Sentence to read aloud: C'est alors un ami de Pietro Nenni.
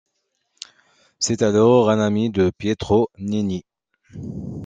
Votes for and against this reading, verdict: 2, 0, accepted